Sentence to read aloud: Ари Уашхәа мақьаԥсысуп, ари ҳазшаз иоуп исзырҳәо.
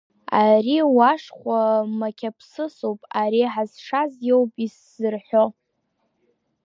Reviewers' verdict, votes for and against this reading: accepted, 2, 0